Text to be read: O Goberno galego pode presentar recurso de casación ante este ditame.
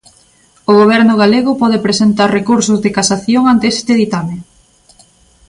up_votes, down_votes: 2, 0